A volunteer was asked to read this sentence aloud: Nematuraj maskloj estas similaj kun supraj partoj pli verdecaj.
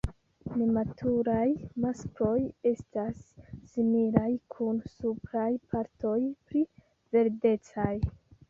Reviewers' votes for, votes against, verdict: 1, 2, rejected